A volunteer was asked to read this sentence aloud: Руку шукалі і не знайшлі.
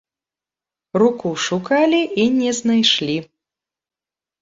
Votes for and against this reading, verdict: 2, 0, accepted